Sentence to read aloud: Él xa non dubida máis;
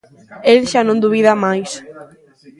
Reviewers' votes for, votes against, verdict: 2, 0, accepted